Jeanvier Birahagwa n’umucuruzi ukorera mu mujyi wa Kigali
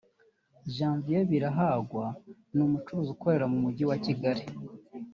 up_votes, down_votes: 1, 2